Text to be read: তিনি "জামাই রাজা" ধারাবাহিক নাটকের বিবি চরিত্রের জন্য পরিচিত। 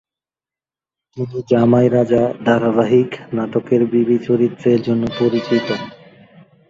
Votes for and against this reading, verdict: 1, 2, rejected